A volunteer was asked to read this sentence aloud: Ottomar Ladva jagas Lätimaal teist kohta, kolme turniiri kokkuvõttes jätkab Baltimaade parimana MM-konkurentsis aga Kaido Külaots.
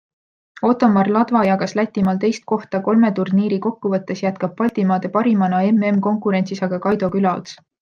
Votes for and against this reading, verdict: 2, 1, accepted